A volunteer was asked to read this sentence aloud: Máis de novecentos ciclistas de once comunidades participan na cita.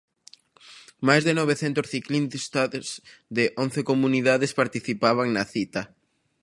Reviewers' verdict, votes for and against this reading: rejected, 0, 2